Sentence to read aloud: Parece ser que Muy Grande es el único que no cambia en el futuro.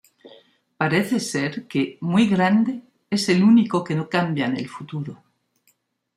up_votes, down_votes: 2, 0